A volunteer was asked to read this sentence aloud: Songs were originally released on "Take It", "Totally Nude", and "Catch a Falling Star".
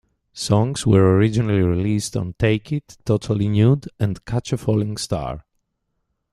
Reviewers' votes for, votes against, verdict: 2, 0, accepted